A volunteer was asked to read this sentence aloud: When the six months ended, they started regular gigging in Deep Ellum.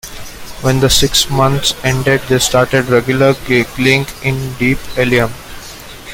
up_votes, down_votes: 0, 2